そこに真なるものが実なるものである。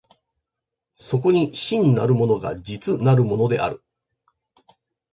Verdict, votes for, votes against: accepted, 3, 0